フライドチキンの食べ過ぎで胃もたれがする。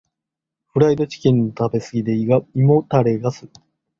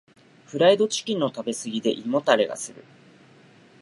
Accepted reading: second